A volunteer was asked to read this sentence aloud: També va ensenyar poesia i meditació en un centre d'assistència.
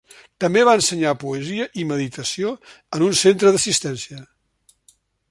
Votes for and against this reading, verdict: 3, 0, accepted